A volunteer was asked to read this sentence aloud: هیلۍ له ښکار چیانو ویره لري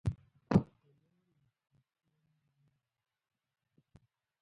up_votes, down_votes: 1, 2